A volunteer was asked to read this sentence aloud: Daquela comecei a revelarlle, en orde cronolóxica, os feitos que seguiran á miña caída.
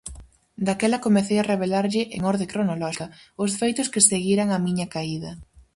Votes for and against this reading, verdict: 0, 4, rejected